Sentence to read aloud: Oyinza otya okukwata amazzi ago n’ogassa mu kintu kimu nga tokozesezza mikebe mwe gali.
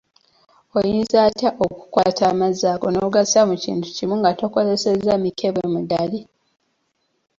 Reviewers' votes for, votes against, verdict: 0, 2, rejected